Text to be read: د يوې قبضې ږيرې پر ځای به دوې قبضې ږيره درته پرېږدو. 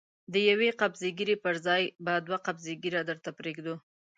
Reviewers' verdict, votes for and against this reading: accepted, 2, 0